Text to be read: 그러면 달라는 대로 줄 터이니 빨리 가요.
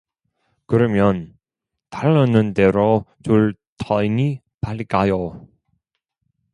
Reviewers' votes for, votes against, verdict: 1, 2, rejected